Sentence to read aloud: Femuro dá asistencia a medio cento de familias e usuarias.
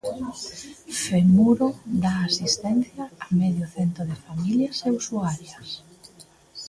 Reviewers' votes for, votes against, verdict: 2, 0, accepted